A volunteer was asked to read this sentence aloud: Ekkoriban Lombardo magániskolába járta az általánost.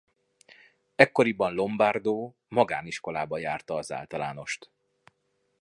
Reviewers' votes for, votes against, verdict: 2, 1, accepted